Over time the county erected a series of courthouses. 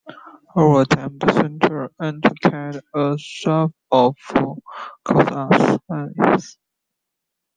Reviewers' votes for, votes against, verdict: 0, 2, rejected